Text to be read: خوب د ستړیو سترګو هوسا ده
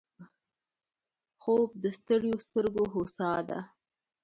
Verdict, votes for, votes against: rejected, 0, 2